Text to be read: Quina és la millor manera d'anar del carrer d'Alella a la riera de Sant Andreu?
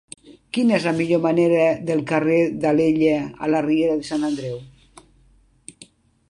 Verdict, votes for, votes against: rejected, 0, 2